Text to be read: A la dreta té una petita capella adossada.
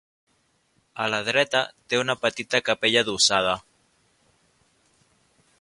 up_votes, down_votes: 2, 0